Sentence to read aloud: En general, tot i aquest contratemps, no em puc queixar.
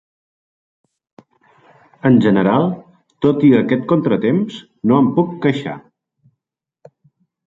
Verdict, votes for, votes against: accepted, 3, 0